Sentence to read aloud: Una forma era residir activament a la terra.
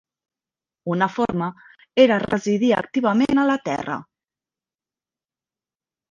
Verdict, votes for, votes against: accepted, 3, 1